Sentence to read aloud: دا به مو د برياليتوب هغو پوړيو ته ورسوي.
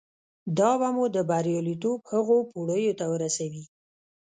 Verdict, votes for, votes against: rejected, 1, 2